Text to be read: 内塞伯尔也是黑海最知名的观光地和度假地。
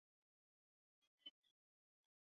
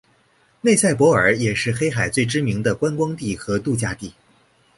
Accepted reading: second